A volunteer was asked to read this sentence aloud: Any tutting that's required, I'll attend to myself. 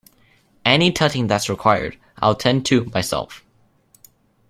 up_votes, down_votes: 2, 0